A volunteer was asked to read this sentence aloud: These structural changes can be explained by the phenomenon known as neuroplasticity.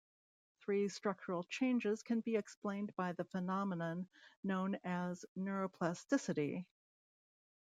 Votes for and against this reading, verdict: 1, 2, rejected